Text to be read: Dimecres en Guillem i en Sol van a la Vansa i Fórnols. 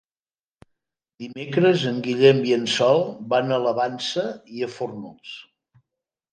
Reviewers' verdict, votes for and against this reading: rejected, 0, 2